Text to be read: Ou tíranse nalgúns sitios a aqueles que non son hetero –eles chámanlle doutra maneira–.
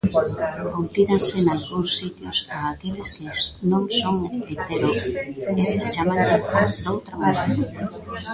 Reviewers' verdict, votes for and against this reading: rejected, 0, 2